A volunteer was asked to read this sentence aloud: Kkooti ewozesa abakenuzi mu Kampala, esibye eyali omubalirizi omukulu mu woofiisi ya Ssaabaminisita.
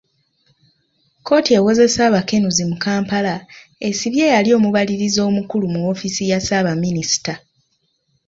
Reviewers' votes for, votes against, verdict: 2, 1, accepted